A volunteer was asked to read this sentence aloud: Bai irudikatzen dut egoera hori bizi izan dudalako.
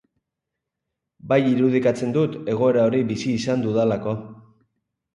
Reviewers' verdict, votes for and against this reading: accepted, 2, 0